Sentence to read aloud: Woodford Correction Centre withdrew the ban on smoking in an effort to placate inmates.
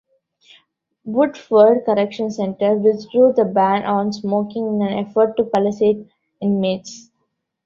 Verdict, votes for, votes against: rejected, 0, 2